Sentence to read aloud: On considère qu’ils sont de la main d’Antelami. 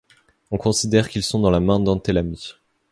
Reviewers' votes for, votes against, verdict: 0, 2, rejected